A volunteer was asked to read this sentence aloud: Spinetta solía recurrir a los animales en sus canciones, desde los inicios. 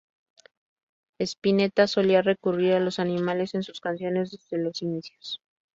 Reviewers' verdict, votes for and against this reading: accepted, 2, 0